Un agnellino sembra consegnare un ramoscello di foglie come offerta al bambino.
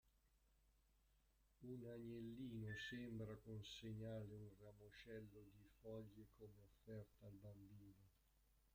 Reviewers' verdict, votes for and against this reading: rejected, 0, 2